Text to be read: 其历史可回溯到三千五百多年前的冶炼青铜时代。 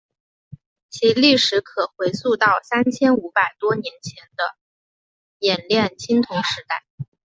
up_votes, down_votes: 2, 0